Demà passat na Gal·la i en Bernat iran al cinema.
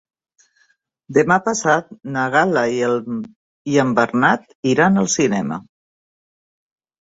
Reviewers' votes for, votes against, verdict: 0, 2, rejected